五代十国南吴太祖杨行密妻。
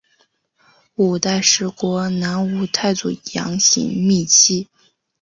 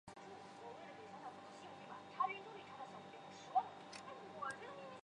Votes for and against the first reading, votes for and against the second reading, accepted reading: 2, 1, 0, 2, first